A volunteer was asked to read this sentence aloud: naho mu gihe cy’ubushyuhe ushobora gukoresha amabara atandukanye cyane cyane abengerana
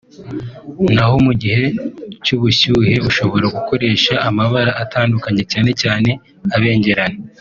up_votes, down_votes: 2, 0